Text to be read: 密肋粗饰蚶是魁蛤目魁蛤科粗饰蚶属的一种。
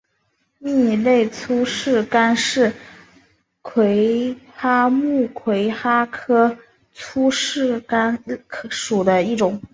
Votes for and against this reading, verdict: 0, 2, rejected